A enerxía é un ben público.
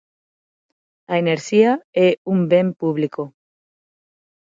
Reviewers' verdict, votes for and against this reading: accepted, 6, 0